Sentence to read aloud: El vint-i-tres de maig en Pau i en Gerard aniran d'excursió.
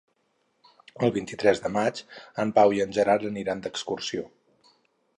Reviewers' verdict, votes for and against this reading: accepted, 4, 0